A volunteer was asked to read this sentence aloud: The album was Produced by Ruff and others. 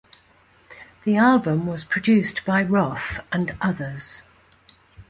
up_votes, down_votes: 2, 0